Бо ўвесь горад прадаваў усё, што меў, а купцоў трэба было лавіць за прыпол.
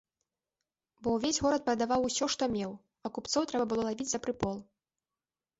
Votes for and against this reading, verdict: 1, 2, rejected